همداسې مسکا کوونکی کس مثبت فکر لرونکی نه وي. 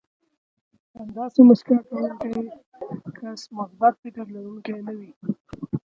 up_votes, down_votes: 1, 2